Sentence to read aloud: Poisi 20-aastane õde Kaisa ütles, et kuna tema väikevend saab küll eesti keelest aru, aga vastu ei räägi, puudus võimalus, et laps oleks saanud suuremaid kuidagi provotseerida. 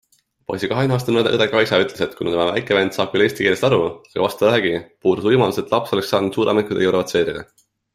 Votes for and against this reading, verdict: 0, 2, rejected